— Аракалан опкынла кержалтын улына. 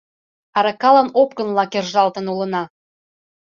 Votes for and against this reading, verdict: 2, 0, accepted